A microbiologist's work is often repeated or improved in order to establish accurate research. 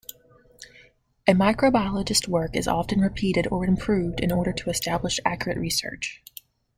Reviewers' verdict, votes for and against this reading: accepted, 2, 1